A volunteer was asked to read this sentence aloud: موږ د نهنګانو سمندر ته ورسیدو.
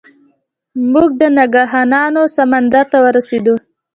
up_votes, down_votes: 1, 2